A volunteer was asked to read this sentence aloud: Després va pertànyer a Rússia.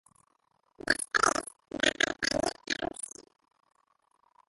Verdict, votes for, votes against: rejected, 0, 2